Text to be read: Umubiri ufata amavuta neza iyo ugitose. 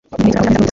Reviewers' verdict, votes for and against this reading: rejected, 1, 2